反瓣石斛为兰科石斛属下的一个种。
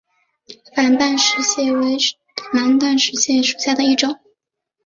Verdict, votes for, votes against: rejected, 0, 2